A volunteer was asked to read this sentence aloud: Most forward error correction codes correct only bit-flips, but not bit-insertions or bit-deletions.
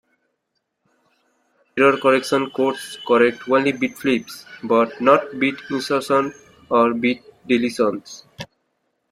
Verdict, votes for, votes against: rejected, 0, 2